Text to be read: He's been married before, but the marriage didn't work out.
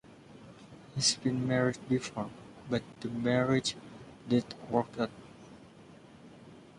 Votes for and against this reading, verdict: 2, 1, accepted